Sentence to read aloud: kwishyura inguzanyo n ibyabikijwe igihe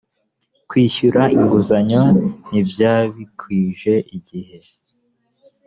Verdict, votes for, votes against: rejected, 0, 2